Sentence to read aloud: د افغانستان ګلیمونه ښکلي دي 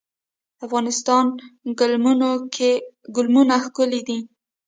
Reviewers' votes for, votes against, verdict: 1, 2, rejected